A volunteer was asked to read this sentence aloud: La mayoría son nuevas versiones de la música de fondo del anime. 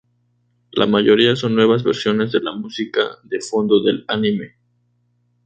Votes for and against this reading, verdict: 2, 0, accepted